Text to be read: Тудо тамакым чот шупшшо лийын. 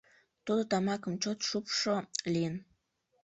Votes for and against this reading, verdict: 1, 2, rejected